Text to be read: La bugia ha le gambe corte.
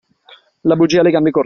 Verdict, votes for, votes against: accepted, 2, 0